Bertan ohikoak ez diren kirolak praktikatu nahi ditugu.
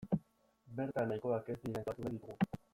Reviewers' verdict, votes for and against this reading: rejected, 0, 2